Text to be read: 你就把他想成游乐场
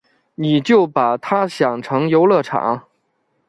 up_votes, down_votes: 2, 0